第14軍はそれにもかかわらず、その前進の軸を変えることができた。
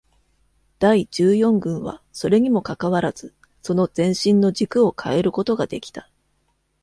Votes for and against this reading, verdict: 0, 2, rejected